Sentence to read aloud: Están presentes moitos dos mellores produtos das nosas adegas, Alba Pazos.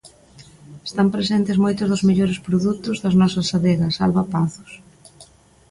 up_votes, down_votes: 2, 0